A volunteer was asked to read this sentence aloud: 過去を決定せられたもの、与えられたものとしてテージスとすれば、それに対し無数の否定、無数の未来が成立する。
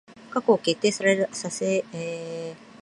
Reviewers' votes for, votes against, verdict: 0, 2, rejected